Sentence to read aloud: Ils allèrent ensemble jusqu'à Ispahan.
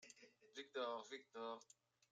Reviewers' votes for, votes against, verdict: 0, 2, rejected